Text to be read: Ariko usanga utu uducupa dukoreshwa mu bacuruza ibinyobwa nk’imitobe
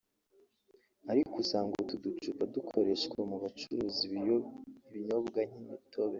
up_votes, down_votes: 1, 4